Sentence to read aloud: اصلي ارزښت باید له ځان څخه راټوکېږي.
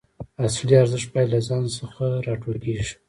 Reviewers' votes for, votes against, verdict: 1, 2, rejected